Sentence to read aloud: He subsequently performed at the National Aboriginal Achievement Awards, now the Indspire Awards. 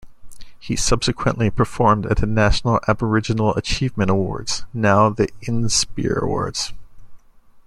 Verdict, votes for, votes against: rejected, 1, 2